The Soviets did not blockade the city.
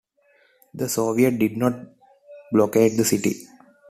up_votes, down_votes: 1, 2